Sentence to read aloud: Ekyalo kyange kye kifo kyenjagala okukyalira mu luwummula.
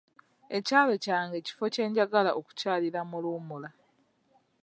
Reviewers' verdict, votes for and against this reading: rejected, 0, 2